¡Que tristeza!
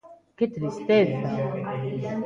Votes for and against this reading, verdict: 1, 2, rejected